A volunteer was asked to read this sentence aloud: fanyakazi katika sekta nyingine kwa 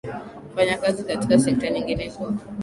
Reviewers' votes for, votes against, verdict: 0, 3, rejected